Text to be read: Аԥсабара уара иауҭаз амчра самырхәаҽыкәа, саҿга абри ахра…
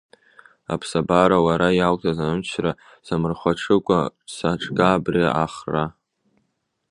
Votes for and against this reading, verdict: 1, 2, rejected